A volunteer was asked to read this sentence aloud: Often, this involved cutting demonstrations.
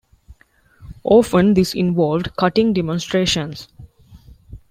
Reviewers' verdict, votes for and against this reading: accepted, 2, 0